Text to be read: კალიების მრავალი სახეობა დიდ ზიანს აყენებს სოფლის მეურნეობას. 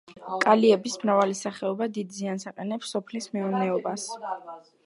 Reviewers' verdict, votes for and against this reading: accepted, 2, 1